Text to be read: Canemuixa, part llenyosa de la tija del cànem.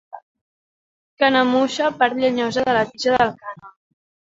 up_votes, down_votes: 2, 0